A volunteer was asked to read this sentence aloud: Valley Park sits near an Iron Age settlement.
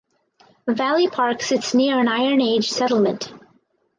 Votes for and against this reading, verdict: 4, 0, accepted